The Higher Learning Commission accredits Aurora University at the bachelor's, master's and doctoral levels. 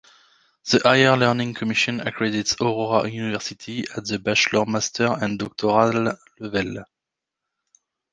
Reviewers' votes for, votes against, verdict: 0, 2, rejected